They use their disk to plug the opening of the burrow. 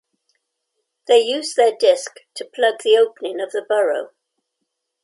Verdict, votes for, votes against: accepted, 2, 0